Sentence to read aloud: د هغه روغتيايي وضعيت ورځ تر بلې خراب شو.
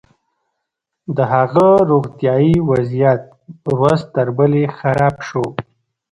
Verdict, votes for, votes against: accepted, 2, 0